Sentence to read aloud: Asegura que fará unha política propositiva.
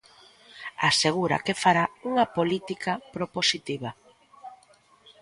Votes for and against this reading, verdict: 2, 0, accepted